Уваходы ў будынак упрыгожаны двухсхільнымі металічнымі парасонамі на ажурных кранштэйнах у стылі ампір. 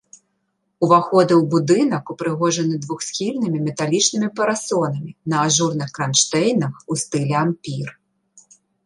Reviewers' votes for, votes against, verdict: 2, 0, accepted